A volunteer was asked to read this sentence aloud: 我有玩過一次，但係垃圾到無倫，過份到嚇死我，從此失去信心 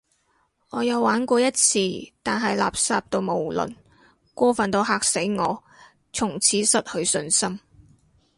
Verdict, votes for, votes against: accepted, 2, 0